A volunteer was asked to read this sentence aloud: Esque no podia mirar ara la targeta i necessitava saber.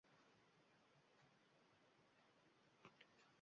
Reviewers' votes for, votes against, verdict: 1, 3, rejected